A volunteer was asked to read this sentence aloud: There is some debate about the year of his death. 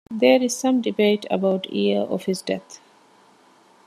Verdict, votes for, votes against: accepted, 2, 0